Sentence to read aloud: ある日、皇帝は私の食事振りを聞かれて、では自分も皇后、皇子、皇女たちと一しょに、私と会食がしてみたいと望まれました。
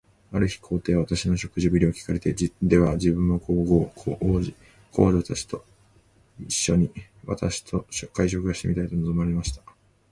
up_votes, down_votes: 0, 2